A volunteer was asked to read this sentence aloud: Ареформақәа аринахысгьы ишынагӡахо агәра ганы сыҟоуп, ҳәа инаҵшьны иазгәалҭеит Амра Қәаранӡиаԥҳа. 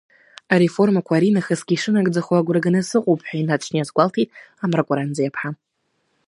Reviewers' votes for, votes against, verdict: 2, 0, accepted